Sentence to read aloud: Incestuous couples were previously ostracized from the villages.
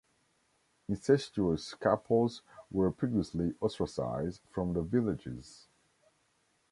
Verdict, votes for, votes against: accepted, 2, 1